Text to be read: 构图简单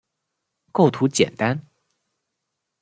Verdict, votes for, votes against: accepted, 2, 0